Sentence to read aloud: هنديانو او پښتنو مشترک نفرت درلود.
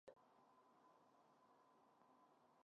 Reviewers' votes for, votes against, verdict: 0, 2, rejected